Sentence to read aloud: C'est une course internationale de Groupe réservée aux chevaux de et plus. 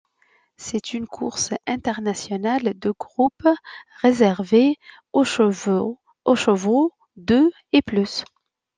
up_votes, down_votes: 0, 2